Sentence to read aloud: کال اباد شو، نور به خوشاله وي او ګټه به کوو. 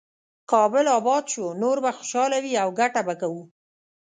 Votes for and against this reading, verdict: 1, 2, rejected